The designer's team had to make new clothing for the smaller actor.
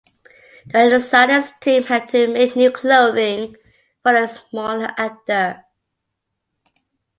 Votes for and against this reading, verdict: 0, 2, rejected